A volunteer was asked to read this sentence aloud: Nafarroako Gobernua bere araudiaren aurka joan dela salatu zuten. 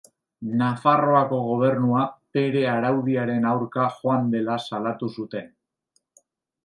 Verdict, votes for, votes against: accepted, 2, 0